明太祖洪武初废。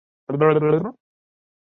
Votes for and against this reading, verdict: 0, 5, rejected